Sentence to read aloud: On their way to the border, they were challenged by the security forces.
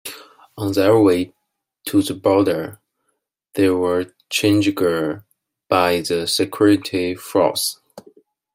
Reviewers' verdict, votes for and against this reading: rejected, 0, 2